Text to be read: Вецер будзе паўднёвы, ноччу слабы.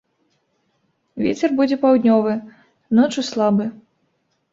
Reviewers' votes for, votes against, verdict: 1, 2, rejected